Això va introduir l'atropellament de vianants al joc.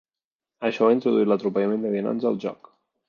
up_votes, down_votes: 1, 2